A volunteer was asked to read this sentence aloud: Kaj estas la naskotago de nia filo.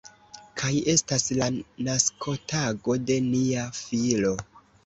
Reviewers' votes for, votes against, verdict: 1, 2, rejected